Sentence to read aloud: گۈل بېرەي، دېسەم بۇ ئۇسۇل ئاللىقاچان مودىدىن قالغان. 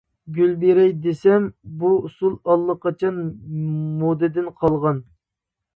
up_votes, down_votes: 0, 2